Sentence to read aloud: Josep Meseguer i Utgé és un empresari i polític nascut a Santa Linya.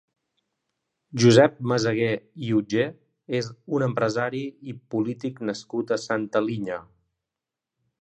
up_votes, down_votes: 3, 0